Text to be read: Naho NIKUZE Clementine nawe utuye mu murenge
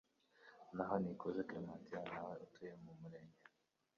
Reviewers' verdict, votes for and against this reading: rejected, 0, 2